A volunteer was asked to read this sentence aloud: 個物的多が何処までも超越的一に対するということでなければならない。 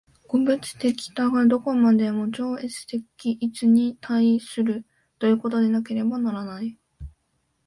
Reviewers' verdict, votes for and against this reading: rejected, 1, 2